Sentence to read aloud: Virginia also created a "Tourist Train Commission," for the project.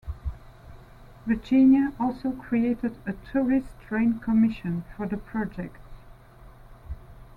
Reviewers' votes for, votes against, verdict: 2, 0, accepted